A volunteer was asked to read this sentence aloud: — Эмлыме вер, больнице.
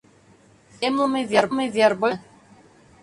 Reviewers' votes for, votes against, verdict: 0, 2, rejected